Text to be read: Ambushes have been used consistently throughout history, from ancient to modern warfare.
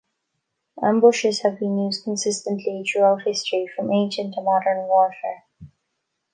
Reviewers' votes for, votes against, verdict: 2, 0, accepted